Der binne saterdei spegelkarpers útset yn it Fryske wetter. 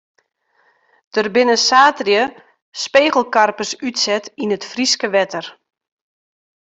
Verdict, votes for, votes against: accepted, 2, 0